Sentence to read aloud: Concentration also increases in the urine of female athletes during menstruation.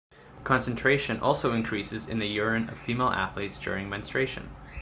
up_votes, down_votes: 2, 0